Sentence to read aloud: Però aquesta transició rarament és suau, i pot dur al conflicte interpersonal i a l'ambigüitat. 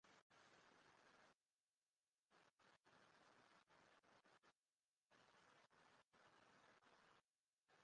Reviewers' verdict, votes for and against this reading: rejected, 0, 2